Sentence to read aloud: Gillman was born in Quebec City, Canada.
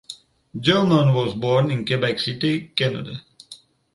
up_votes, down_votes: 2, 0